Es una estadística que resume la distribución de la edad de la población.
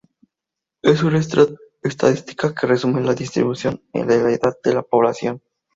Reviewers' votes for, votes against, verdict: 0, 2, rejected